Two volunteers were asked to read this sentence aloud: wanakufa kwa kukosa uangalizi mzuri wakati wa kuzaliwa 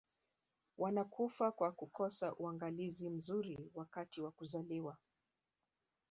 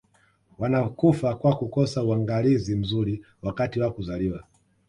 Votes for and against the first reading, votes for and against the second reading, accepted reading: 1, 2, 2, 1, second